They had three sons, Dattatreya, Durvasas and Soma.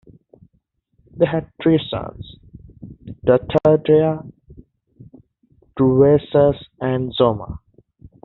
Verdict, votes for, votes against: rejected, 1, 2